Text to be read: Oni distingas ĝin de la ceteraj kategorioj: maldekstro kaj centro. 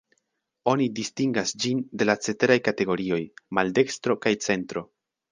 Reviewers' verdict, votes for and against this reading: rejected, 1, 2